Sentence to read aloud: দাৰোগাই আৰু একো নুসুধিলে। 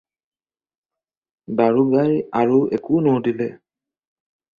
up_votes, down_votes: 4, 2